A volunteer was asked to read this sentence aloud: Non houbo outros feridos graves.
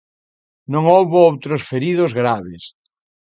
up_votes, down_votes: 2, 0